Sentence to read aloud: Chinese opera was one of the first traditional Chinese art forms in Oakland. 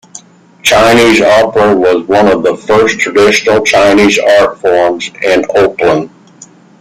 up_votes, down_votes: 1, 2